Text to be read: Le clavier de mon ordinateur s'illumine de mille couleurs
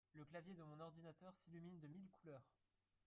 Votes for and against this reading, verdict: 1, 2, rejected